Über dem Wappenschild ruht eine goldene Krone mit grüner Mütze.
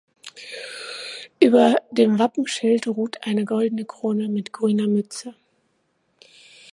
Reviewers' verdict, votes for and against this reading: accepted, 2, 0